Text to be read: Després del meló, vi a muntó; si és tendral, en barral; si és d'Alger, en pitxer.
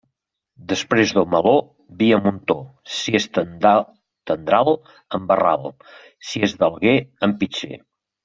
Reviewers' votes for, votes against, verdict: 1, 2, rejected